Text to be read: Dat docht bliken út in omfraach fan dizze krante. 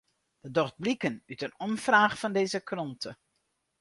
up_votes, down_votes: 0, 2